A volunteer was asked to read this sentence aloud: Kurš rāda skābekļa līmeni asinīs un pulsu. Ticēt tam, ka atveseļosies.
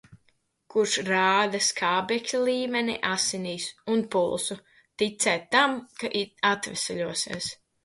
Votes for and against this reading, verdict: 1, 2, rejected